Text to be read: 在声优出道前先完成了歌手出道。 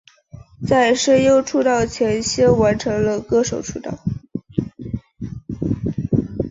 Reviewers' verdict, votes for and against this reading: accepted, 2, 0